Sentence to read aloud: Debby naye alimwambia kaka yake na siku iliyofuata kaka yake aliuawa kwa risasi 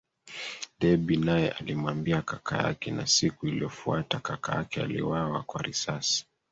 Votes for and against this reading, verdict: 1, 2, rejected